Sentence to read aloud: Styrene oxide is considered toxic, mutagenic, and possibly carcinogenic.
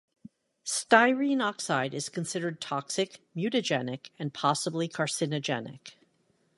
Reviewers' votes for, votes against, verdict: 2, 0, accepted